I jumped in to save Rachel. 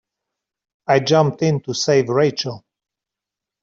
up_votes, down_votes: 3, 0